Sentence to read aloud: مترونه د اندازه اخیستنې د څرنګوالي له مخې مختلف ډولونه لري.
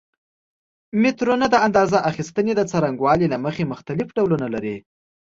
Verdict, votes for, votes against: accepted, 2, 0